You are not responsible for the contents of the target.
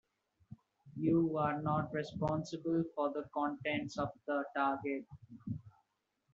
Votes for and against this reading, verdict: 2, 1, accepted